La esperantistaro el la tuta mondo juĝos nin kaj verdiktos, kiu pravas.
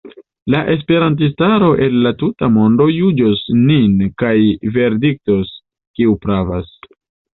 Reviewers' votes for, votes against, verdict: 2, 0, accepted